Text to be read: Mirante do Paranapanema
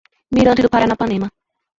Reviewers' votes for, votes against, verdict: 0, 2, rejected